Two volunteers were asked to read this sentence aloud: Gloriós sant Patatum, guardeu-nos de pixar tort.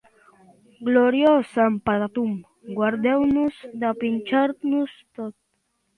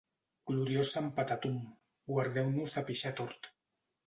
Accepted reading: second